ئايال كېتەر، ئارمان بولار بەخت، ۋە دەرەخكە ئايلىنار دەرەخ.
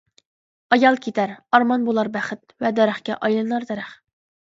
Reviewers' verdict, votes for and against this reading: accepted, 2, 0